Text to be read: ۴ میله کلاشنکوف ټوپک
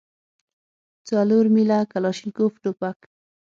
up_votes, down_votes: 0, 2